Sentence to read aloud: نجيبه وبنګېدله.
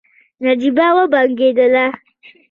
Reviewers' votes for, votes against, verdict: 2, 0, accepted